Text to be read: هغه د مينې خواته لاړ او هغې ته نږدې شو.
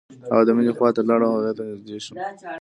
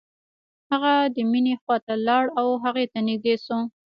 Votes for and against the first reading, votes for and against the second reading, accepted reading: 2, 0, 1, 2, first